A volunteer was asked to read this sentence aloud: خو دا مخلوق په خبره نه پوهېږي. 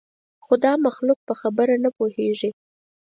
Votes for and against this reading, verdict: 4, 0, accepted